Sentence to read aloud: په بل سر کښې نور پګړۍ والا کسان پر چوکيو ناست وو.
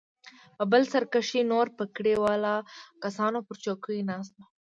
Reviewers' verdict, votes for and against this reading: rejected, 1, 2